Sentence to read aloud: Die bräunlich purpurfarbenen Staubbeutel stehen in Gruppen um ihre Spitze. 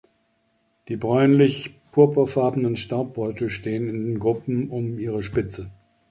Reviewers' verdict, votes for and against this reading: accepted, 2, 0